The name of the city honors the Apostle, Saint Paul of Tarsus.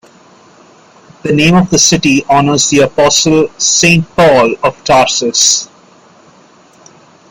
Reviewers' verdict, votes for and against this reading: accepted, 2, 0